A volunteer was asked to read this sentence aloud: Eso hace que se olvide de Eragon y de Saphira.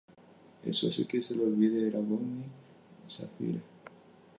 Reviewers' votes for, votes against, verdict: 0, 2, rejected